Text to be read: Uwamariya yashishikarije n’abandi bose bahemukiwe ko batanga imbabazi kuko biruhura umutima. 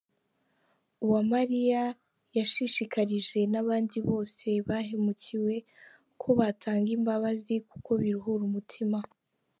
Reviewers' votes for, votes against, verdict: 2, 1, accepted